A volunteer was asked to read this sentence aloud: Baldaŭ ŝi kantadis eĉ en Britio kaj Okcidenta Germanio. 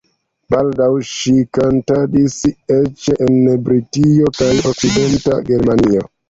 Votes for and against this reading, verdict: 2, 0, accepted